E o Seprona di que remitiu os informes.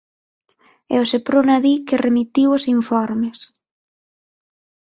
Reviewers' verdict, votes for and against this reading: accepted, 6, 0